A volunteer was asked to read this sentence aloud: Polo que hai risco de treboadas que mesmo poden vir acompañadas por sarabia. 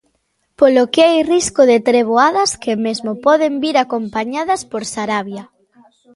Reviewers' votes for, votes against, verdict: 1, 2, rejected